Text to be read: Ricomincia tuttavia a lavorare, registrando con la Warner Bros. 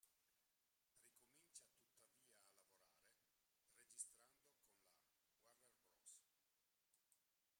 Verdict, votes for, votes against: rejected, 0, 2